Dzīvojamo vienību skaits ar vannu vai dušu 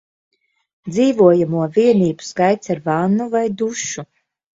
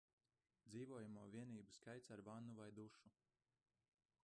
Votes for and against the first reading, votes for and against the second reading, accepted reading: 2, 0, 0, 2, first